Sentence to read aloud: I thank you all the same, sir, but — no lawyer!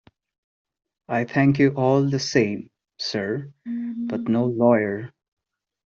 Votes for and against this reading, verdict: 2, 0, accepted